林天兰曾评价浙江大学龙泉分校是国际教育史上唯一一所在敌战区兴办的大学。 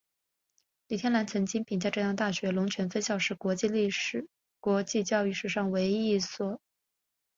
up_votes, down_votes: 1, 3